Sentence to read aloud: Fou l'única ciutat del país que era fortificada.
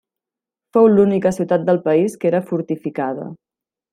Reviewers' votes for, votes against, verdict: 3, 0, accepted